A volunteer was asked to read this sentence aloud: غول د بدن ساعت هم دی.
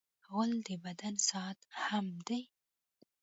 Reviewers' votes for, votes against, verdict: 1, 2, rejected